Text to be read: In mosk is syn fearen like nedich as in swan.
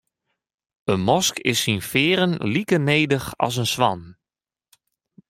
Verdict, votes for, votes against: accepted, 2, 0